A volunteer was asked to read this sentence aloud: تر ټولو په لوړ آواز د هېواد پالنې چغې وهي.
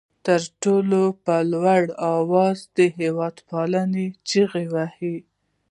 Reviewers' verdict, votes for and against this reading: rejected, 0, 2